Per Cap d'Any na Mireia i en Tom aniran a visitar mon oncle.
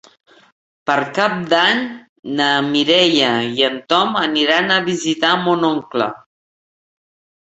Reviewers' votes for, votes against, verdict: 4, 1, accepted